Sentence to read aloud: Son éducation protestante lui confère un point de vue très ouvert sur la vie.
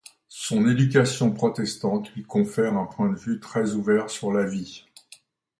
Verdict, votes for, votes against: accepted, 2, 0